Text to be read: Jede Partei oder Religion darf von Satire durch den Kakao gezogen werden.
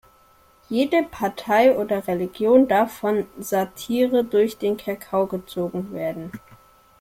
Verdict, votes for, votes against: accepted, 2, 0